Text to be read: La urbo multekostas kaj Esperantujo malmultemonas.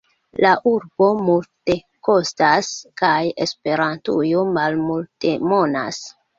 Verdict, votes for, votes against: accepted, 2, 0